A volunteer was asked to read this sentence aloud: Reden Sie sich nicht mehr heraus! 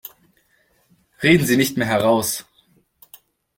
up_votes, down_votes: 1, 2